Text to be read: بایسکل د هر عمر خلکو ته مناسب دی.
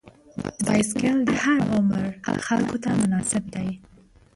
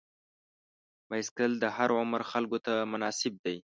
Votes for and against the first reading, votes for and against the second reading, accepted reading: 0, 2, 2, 0, second